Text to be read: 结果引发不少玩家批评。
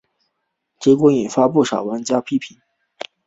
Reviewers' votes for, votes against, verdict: 3, 0, accepted